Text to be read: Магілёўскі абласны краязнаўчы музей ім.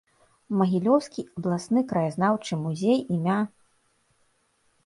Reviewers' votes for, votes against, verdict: 1, 2, rejected